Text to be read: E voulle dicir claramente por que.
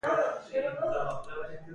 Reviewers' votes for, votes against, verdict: 0, 2, rejected